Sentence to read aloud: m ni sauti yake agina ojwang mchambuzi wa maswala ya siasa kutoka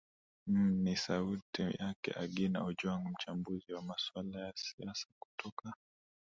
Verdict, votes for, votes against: accepted, 10, 4